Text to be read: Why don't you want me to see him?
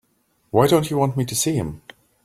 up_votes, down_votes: 3, 0